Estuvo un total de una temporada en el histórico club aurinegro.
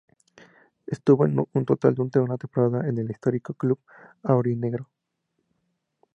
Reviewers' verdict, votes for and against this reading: rejected, 0, 6